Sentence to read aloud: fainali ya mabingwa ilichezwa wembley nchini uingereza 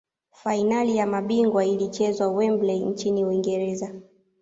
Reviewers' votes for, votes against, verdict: 2, 0, accepted